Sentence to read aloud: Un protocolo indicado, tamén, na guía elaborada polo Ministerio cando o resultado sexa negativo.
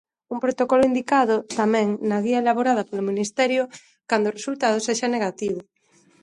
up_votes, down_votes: 2, 0